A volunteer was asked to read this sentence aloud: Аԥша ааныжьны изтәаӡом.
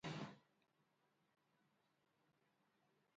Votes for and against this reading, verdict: 0, 2, rejected